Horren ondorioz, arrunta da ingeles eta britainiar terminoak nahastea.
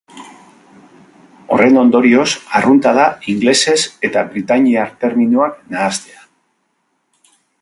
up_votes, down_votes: 1, 2